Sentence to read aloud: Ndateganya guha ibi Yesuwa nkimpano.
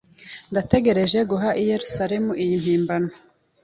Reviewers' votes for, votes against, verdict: 0, 2, rejected